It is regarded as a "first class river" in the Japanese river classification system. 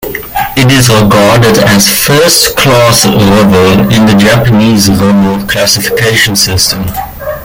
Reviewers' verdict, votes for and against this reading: accepted, 2, 0